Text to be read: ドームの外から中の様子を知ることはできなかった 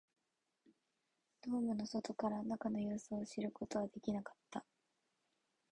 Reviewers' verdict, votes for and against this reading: accepted, 2, 0